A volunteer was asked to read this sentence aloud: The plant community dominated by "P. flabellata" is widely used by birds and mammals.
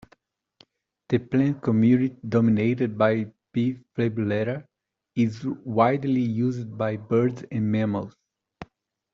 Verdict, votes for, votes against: rejected, 0, 2